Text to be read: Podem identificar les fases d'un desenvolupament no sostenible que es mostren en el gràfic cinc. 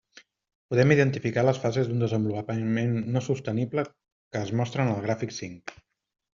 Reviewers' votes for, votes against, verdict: 1, 2, rejected